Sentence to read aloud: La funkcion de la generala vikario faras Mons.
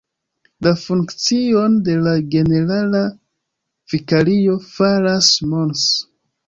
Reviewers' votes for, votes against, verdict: 1, 2, rejected